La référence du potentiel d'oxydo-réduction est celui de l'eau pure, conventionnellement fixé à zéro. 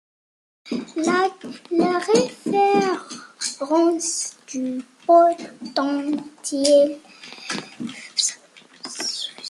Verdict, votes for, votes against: rejected, 0, 2